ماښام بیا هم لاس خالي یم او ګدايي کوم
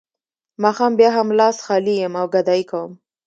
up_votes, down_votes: 2, 1